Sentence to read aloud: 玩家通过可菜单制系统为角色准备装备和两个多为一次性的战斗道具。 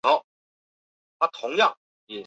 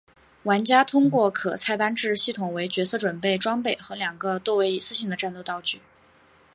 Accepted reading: second